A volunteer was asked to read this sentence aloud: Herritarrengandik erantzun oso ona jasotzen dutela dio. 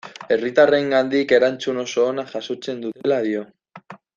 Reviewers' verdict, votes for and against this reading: accepted, 2, 0